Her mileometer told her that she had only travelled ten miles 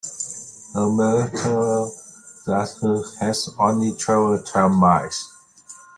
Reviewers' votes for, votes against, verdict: 0, 2, rejected